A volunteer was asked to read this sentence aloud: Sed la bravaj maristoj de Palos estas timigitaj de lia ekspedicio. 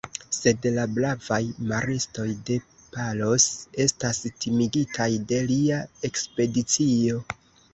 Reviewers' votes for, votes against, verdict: 2, 0, accepted